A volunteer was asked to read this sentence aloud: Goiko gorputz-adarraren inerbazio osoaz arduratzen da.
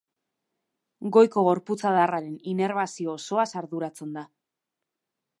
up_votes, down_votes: 3, 0